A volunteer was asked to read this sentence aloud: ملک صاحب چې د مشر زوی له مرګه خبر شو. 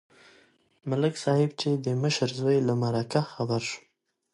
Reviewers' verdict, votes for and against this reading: rejected, 0, 2